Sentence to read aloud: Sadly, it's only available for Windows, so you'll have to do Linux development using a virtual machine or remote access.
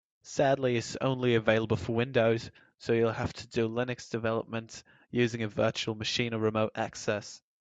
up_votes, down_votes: 2, 0